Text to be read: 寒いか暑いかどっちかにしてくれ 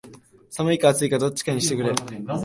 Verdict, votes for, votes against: accepted, 2, 1